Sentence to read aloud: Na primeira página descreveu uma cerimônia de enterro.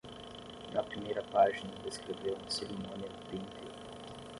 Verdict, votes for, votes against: rejected, 5, 5